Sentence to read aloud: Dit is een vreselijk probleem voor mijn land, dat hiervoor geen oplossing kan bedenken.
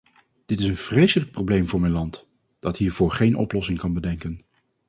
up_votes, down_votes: 4, 0